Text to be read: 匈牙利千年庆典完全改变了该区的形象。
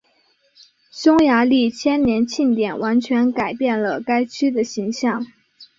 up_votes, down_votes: 5, 1